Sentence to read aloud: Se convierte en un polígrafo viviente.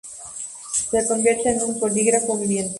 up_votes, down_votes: 2, 0